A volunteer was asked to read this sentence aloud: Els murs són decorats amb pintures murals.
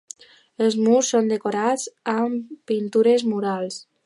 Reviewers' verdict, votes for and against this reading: accepted, 2, 0